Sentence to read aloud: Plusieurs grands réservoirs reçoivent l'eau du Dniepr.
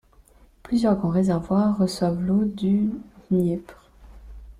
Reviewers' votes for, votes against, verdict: 0, 2, rejected